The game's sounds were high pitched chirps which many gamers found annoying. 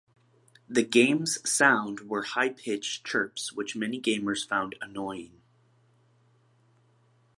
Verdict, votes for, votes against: rejected, 1, 2